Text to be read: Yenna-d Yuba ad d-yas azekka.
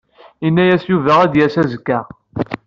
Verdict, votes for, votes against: accepted, 2, 0